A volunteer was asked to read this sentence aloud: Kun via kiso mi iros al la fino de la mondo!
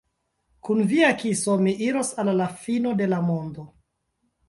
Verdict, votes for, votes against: accepted, 2, 0